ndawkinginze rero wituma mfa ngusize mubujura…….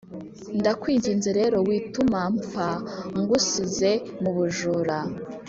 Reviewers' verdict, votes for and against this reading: accepted, 4, 0